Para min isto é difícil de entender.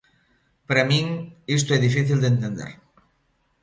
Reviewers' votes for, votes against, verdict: 2, 0, accepted